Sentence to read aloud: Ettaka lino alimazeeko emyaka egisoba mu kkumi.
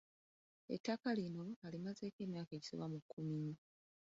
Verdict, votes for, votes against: rejected, 0, 2